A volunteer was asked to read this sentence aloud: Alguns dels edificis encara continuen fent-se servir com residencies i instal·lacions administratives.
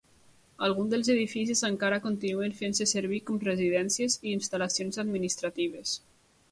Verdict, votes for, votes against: accepted, 2, 0